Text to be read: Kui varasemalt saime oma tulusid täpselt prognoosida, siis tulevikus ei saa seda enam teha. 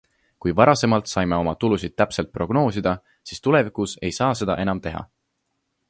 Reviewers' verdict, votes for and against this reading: accepted, 2, 0